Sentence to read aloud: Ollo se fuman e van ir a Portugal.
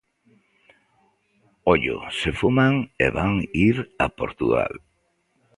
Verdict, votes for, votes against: accepted, 2, 0